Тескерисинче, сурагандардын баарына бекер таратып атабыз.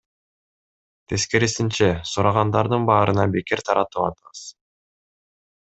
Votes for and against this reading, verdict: 2, 0, accepted